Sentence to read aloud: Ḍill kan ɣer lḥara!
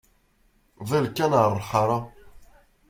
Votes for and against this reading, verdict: 2, 1, accepted